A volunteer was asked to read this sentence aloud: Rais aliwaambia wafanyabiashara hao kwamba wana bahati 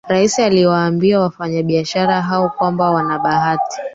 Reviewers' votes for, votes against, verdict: 3, 1, accepted